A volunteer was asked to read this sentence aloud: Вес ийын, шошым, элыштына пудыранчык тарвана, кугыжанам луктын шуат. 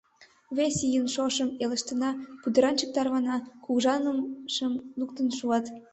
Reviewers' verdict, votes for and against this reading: rejected, 1, 2